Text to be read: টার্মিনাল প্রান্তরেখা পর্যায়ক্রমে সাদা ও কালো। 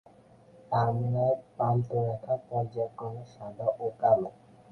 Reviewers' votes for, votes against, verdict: 12, 8, accepted